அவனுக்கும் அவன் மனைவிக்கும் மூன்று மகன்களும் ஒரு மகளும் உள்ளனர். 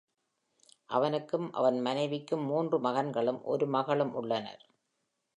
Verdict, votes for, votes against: accepted, 2, 0